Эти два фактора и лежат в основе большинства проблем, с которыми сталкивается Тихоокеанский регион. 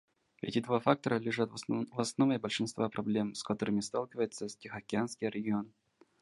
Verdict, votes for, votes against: rejected, 0, 2